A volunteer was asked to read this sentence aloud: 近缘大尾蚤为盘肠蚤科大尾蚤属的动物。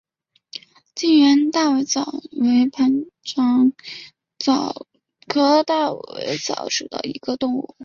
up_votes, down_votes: 0, 3